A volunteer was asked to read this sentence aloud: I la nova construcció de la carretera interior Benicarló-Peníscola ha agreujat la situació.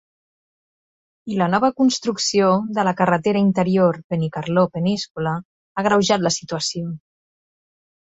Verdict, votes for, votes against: accepted, 3, 0